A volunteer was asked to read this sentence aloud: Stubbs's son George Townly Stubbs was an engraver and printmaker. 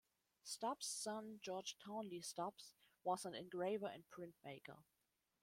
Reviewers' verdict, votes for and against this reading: rejected, 0, 2